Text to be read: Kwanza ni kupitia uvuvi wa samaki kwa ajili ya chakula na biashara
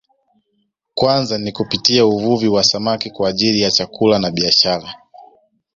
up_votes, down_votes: 2, 1